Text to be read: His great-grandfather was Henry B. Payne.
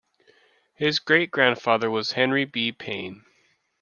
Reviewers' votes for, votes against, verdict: 2, 0, accepted